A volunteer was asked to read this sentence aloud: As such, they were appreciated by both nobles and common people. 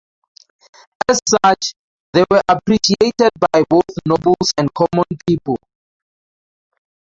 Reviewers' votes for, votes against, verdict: 0, 2, rejected